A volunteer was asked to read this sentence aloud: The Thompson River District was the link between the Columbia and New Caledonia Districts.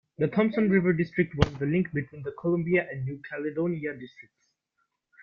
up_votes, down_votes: 2, 0